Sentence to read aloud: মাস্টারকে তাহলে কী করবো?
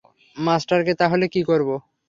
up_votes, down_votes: 3, 0